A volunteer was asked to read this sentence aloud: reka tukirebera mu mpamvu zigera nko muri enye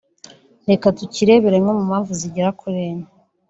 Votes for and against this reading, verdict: 0, 2, rejected